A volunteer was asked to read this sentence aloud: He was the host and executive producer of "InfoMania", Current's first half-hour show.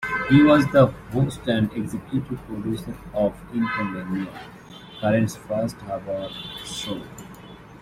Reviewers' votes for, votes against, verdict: 0, 2, rejected